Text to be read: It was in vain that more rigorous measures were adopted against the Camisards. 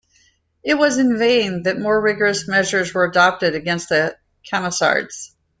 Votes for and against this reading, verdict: 2, 0, accepted